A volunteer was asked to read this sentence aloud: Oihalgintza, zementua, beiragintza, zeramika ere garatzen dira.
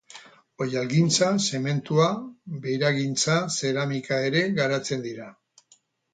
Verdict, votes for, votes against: accepted, 6, 0